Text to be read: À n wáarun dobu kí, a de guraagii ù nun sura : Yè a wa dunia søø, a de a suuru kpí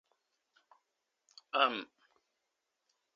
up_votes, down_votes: 0, 2